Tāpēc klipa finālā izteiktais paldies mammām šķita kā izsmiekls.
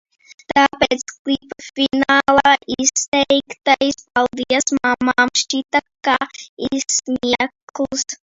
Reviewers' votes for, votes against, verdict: 1, 2, rejected